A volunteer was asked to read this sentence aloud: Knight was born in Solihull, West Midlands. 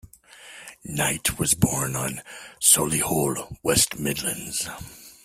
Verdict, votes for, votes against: rejected, 1, 2